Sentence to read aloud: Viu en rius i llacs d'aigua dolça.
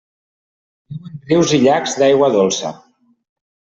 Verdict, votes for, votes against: rejected, 0, 2